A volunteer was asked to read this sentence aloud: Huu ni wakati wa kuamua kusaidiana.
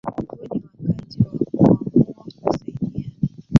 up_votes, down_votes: 0, 2